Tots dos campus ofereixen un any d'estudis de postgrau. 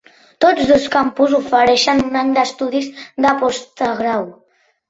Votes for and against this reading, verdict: 0, 2, rejected